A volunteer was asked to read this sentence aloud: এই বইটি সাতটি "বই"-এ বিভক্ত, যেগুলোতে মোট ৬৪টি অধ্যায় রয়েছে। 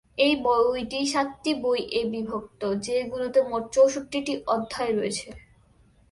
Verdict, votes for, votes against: rejected, 0, 2